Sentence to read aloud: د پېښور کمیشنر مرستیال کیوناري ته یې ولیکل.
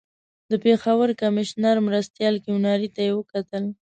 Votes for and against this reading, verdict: 1, 2, rejected